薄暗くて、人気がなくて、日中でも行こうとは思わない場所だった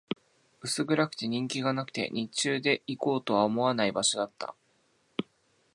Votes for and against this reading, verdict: 2, 2, rejected